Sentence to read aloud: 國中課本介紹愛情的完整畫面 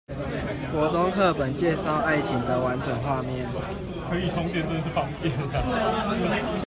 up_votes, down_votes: 1, 2